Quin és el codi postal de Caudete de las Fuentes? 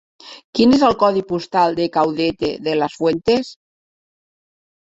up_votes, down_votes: 4, 1